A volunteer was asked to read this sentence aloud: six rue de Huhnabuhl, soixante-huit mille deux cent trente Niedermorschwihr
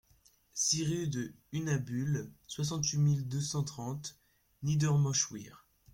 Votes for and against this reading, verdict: 2, 0, accepted